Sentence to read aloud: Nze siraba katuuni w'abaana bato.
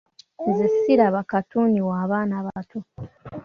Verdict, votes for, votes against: accepted, 2, 0